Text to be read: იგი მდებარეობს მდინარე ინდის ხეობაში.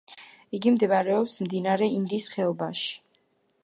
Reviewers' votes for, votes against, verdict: 2, 0, accepted